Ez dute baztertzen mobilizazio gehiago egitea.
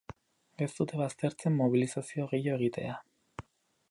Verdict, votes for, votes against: rejected, 2, 2